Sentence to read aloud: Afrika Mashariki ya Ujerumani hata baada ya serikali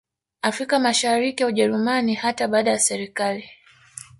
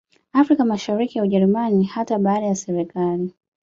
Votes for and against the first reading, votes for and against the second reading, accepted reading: 1, 2, 2, 0, second